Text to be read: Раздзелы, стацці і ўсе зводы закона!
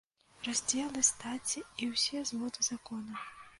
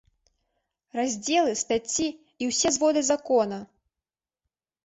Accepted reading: second